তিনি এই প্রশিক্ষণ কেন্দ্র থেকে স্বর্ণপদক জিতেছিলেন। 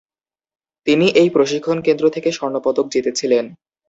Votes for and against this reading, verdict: 4, 0, accepted